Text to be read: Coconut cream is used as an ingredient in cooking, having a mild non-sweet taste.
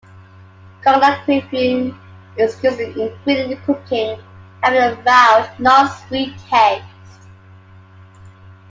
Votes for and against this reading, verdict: 0, 2, rejected